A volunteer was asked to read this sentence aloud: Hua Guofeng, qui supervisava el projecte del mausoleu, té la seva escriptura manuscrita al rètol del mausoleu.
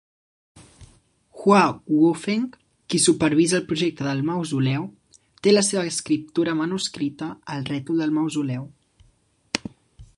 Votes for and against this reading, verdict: 1, 2, rejected